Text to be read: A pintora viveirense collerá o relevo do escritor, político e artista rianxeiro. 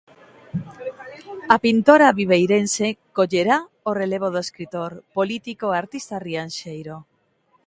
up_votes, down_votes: 1, 2